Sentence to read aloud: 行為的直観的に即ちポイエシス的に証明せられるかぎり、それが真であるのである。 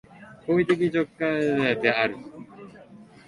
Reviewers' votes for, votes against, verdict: 0, 17, rejected